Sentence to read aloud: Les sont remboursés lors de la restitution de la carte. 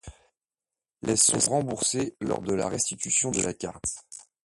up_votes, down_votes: 2, 1